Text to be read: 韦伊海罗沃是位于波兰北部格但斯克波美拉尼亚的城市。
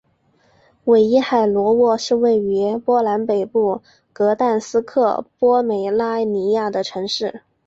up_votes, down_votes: 3, 0